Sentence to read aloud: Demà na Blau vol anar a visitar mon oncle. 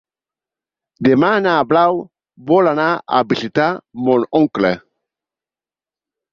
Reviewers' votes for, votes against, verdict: 3, 0, accepted